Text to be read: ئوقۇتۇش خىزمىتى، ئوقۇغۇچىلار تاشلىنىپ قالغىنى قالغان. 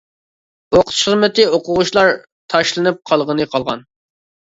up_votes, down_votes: 2, 1